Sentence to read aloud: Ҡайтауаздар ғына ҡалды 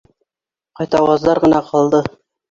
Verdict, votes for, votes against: accepted, 2, 0